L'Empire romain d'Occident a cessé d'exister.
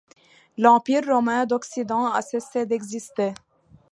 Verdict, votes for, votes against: accepted, 2, 0